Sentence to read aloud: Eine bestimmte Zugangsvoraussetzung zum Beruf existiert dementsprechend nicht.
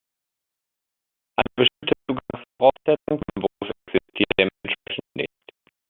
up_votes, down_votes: 0, 2